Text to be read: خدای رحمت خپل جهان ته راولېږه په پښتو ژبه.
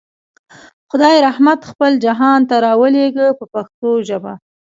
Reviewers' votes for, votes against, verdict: 2, 0, accepted